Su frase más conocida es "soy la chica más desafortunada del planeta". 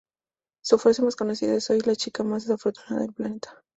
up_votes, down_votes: 2, 2